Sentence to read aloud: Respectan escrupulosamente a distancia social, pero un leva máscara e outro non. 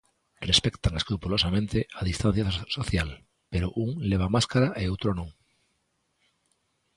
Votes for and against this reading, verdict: 0, 2, rejected